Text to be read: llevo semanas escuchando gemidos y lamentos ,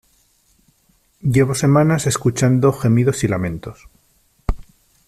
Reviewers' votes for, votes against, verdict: 2, 0, accepted